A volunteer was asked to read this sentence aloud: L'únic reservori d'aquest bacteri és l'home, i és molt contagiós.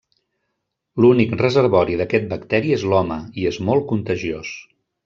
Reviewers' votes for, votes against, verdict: 4, 0, accepted